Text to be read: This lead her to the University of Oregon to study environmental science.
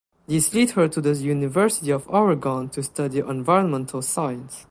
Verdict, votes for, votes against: rejected, 0, 2